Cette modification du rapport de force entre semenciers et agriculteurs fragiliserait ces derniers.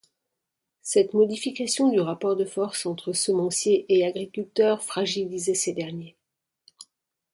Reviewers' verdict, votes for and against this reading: rejected, 1, 2